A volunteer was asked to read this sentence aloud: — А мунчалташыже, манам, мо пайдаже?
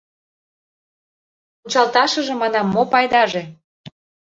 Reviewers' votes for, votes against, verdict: 0, 2, rejected